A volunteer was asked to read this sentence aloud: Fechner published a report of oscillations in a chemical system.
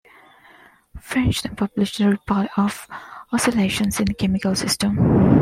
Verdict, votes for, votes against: rejected, 1, 2